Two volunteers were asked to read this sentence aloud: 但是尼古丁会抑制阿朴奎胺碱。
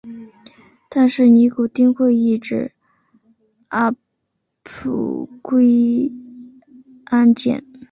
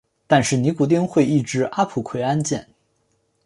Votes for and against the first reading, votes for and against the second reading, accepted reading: 1, 2, 3, 1, second